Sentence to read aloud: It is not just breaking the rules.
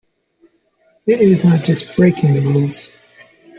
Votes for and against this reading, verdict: 1, 2, rejected